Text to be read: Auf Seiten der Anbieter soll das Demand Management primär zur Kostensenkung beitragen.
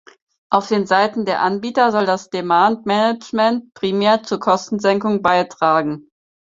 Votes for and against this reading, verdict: 2, 4, rejected